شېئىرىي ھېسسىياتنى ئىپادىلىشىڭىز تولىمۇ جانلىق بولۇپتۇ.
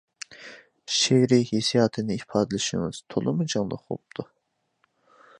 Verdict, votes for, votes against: rejected, 0, 2